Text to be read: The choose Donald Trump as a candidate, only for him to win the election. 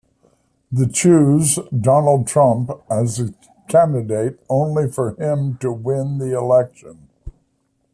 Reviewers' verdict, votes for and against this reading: accepted, 2, 0